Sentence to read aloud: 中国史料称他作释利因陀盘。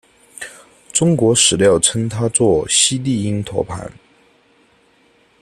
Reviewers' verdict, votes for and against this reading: rejected, 1, 2